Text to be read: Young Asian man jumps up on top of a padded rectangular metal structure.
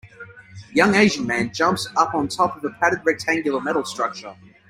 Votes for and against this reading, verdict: 2, 0, accepted